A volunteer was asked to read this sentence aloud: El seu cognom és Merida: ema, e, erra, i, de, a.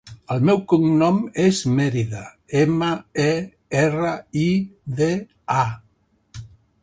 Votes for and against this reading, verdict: 2, 1, accepted